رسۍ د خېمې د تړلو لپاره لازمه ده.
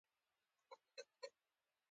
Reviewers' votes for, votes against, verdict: 0, 2, rejected